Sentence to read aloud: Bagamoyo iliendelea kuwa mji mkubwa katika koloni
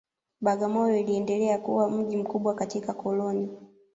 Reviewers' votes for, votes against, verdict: 2, 0, accepted